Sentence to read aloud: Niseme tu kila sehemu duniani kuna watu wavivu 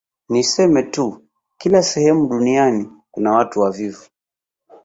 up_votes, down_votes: 2, 1